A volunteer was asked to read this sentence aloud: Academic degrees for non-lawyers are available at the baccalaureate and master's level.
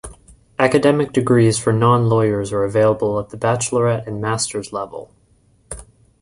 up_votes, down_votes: 1, 2